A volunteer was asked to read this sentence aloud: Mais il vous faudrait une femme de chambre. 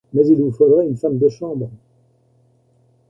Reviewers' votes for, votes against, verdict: 2, 0, accepted